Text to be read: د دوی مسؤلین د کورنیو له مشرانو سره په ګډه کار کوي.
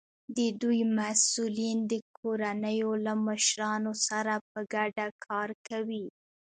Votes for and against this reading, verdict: 0, 2, rejected